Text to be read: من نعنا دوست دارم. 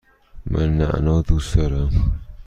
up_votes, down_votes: 2, 0